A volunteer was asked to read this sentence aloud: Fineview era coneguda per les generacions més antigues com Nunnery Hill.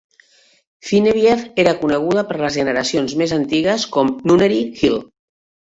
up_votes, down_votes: 1, 2